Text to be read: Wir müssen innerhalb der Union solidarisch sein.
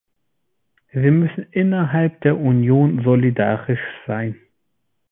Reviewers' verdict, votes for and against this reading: accepted, 3, 0